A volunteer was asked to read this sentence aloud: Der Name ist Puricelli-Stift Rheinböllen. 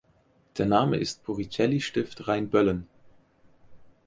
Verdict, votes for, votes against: accepted, 4, 0